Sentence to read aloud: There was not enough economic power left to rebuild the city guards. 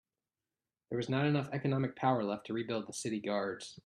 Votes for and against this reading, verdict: 2, 0, accepted